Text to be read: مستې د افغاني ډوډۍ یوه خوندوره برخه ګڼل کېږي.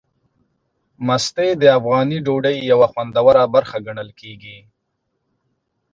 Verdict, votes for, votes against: accepted, 2, 0